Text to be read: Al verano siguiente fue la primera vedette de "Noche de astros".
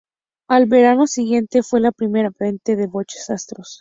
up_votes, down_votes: 0, 2